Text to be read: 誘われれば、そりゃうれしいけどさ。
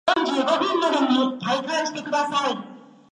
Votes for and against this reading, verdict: 1, 4, rejected